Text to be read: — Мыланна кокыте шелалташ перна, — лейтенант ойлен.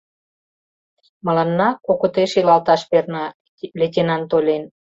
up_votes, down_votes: 1, 2